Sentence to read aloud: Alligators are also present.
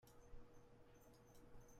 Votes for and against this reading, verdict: 0, 2, rejected